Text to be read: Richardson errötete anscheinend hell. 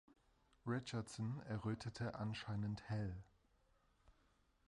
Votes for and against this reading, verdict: 2, 0, accepted